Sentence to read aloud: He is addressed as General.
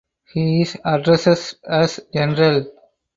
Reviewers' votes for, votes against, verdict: 2, 4, rejected